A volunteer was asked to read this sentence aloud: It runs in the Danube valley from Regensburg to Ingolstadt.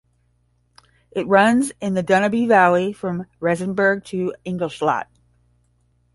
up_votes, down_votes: 0, 10